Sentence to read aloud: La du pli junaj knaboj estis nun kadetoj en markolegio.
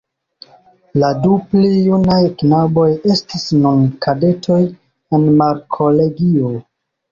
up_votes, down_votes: 1, 2